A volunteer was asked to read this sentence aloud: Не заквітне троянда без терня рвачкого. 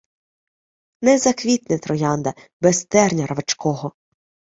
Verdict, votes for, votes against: accepted, 2, 0